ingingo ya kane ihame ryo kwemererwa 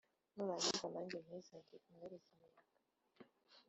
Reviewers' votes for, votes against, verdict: 1, 2, rejected